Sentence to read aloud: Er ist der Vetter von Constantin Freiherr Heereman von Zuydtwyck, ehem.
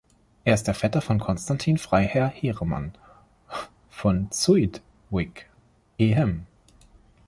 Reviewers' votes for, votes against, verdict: 0, 2, rejected